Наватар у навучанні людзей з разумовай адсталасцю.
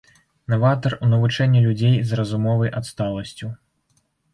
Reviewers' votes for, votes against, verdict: 1, 2, rejected